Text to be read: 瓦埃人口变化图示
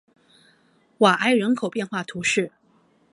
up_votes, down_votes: 2, 0